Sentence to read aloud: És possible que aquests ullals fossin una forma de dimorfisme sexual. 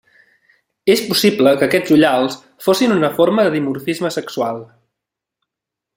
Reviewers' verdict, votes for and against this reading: accepted, 2, 0